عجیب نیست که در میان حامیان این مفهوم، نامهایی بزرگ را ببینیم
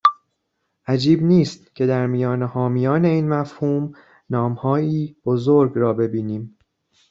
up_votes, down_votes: 2, 0